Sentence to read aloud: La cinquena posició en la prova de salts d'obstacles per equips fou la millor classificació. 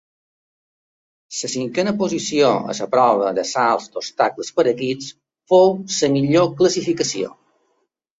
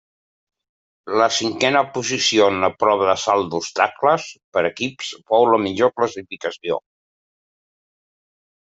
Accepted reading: second